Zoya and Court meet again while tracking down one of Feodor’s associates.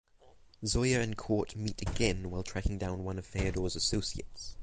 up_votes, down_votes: 6, 0